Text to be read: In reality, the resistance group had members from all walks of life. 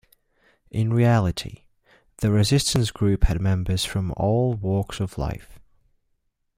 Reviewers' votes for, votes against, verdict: 3, 0, accepted